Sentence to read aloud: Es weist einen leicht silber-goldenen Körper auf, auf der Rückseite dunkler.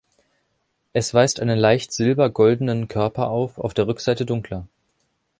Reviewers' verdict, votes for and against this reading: accepted, 3, 0